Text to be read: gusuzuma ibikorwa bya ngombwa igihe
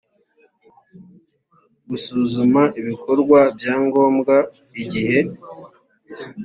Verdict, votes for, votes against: accepted, 2, 0